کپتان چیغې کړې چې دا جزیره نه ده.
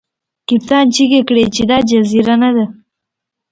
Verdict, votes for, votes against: accepted, 2, 0